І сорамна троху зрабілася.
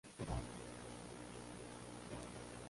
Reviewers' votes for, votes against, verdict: 0, 2, rejected